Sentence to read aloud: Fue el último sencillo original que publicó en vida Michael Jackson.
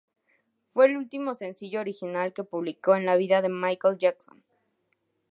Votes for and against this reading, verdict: 2, 2, rejected